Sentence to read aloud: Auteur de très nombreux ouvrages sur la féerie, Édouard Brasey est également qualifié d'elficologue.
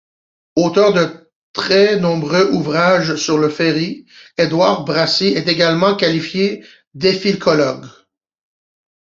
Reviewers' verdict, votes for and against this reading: rejected, 0, 2